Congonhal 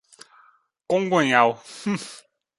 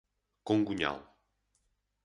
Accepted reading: second